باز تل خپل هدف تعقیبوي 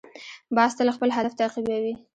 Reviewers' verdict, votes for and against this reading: rejected, 0, 2